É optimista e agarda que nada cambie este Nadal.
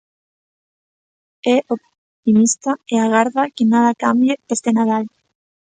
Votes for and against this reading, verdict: 1, 2, rejected